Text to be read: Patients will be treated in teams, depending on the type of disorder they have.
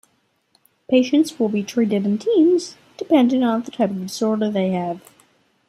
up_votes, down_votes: 2, 0